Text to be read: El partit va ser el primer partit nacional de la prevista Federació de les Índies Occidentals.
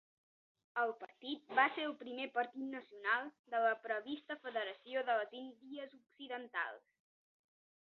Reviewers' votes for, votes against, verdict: 0, 2, rejected